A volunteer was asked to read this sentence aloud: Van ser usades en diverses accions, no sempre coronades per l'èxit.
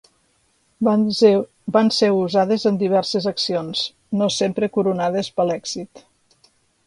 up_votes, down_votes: 0, 2